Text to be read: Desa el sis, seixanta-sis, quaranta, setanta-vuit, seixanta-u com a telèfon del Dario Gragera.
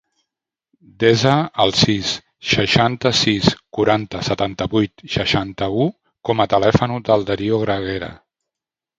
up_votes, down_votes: 1, 2